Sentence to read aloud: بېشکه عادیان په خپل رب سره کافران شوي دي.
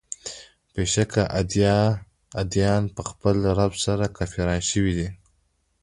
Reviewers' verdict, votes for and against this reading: accepted, 2, 1